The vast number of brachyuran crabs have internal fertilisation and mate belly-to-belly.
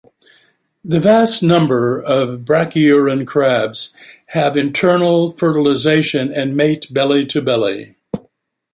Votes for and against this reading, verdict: 2, 1, accepted